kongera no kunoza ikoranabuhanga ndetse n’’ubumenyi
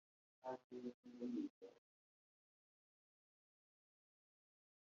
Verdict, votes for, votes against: rejected, 0, 2